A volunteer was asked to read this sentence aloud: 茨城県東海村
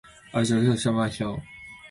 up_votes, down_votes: 0, 2